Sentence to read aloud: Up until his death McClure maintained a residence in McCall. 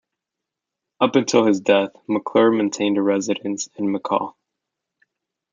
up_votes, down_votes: 1, 2